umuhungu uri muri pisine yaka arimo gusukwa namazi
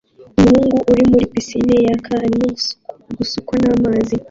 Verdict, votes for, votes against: accepted, 2, 1